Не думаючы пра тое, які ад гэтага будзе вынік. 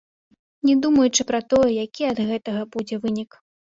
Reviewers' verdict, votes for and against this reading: accepted, 2, 0